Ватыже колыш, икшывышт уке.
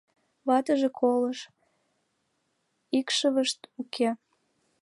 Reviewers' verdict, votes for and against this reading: accepted, 2, 0